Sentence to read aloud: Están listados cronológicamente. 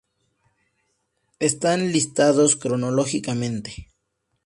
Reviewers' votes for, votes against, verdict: 2, 0, accepted